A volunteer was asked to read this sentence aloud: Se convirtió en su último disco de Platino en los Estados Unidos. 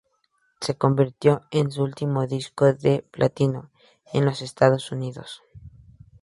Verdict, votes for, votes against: accepted, 4, 2